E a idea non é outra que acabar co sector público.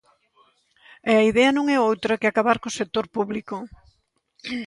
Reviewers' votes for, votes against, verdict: 2, 0, accepted